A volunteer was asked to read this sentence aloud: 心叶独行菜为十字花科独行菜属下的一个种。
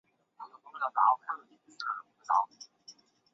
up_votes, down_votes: 0, 2